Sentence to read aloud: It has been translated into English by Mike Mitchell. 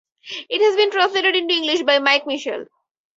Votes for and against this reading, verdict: 4, 0, accepted